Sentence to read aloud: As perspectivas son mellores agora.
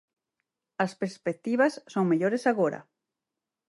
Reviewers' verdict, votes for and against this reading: accepted, 6, 0